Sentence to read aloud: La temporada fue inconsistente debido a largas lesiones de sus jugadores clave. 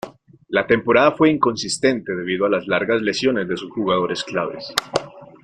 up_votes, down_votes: 0, 2